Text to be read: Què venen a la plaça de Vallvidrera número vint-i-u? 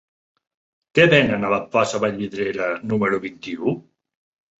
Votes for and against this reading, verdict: 1, 2, rejected